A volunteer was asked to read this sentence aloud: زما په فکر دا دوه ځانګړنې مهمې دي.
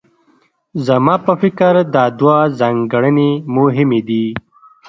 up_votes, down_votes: 0, 2